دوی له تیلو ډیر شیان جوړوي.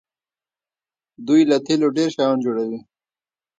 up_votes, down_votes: 1, 2